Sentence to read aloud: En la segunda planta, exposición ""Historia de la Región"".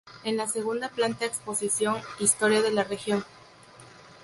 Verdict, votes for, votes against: rejected, 2, 2